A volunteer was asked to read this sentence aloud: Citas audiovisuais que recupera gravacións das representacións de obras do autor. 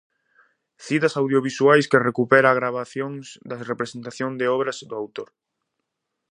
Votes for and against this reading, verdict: 0, 2, rejected